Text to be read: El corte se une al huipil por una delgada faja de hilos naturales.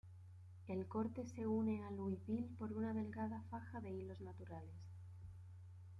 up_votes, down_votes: 0, 2